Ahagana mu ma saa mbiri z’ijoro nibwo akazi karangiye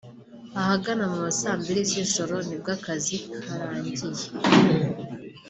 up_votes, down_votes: 3, 0